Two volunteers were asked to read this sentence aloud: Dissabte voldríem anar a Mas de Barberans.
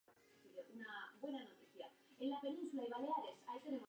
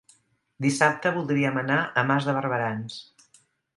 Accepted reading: second